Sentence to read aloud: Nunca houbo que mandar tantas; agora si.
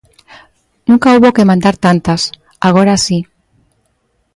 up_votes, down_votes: 3, 0